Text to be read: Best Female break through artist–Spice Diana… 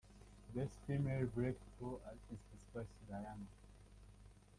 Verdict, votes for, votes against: rejected, 0, 2